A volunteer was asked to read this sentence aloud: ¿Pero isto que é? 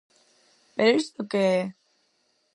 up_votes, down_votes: 4, 0